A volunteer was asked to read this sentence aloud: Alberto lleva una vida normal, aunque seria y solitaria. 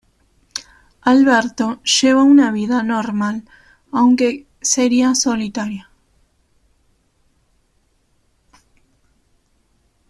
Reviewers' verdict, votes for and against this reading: rejected, 0, 2